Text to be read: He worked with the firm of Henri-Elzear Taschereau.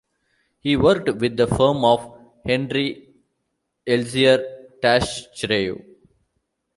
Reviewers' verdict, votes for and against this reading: accepted, 2, 0